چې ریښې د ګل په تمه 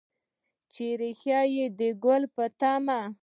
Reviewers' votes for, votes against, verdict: 2, 0, accepted